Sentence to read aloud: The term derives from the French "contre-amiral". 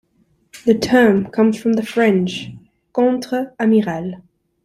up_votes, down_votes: 0, 2